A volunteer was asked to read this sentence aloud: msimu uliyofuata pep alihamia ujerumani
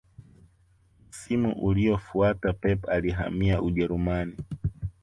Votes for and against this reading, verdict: 2, 0, accepted